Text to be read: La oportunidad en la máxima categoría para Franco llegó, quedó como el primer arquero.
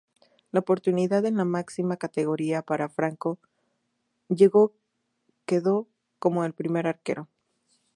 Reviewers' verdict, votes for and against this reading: rejected, 0, 2